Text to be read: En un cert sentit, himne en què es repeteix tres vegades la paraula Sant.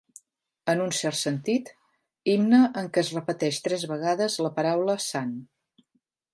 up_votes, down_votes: 3, 0